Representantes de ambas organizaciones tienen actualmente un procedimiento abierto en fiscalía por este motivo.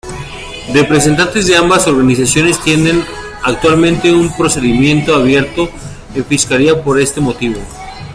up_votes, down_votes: 1, 2